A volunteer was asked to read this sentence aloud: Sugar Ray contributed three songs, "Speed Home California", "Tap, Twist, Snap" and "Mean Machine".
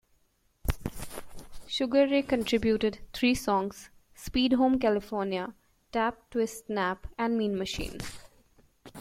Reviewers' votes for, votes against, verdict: 1, 2, rejected